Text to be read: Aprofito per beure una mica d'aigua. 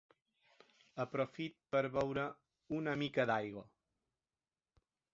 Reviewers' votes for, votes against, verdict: 2, 3, rejected